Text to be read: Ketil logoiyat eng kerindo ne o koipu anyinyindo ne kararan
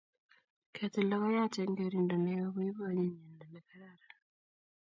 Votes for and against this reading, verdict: 1, 2, rejected